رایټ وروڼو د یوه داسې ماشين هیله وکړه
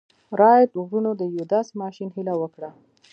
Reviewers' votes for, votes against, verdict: 1, 2, rejected